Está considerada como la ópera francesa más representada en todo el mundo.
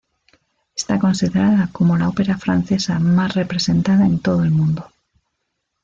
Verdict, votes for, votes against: rejected, 0, 2